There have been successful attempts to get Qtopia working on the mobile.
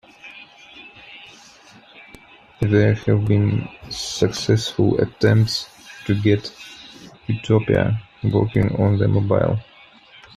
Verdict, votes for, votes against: rejected, 0, 2